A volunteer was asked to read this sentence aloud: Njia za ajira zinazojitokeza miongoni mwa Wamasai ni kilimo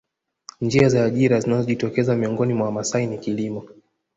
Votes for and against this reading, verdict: 2, 0, accepted